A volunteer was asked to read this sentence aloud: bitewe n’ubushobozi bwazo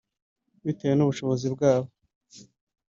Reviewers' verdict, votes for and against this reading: rejected, 2, 3